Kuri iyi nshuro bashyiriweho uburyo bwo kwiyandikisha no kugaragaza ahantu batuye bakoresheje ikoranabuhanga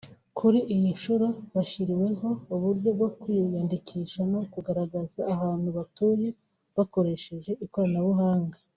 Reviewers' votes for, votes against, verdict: 2, 1, accepted